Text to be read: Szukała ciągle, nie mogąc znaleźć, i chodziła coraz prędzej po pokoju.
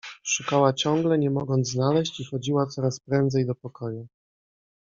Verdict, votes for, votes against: rejected, 1, 2